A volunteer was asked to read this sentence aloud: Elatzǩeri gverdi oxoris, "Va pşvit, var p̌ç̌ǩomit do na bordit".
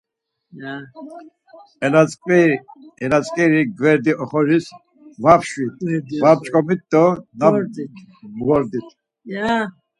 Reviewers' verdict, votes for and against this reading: rejected, 2, 4